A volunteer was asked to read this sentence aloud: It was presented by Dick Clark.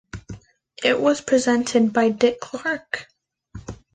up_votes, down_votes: 2, 0